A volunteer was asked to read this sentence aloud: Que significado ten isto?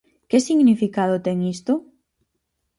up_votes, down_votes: 4, 0